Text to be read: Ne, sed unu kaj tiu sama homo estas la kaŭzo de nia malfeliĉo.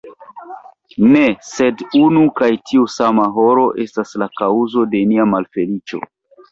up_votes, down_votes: 0, 3